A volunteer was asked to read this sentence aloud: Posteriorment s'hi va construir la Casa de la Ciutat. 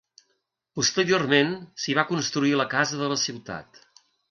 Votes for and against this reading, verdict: 2, 0, accepted